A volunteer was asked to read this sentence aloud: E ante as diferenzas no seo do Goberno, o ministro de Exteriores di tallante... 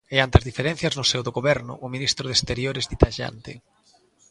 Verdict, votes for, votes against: accepted, 2, 0